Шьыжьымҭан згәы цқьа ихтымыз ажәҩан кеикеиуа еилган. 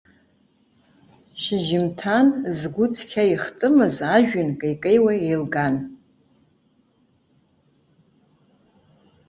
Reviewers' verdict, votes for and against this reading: accepted, 2, 0